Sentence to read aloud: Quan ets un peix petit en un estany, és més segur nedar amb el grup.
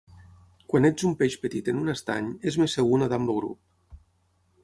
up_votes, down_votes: 6, 3